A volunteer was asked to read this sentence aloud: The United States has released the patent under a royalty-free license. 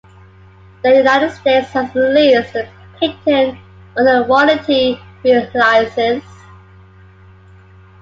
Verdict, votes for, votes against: accepted, 2, 1